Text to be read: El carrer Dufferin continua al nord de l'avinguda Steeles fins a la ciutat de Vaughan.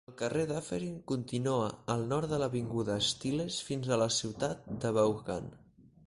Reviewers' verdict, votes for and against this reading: rejected, 2, 4